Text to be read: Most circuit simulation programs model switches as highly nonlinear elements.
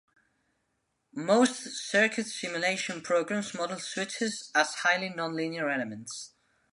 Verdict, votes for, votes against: accepted, 2, 0